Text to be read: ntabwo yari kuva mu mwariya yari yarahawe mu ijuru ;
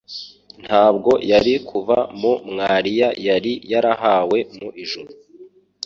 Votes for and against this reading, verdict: 2, 0, accepted